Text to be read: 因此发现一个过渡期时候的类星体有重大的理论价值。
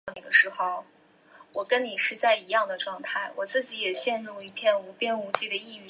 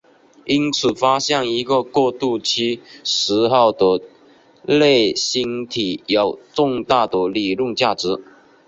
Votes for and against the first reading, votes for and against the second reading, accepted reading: 0, 4, 2, 0, second